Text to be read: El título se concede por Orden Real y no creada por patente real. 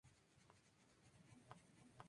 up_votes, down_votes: 0, 2